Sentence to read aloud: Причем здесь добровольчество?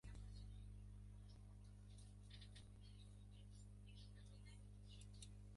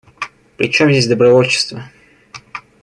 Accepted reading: second